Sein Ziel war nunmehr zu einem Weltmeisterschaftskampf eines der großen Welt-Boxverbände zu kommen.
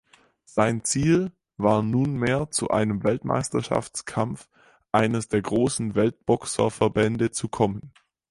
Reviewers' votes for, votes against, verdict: 0, 4, rejected